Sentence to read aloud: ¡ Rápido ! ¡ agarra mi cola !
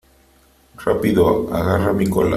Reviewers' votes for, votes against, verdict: 3, 1, accepted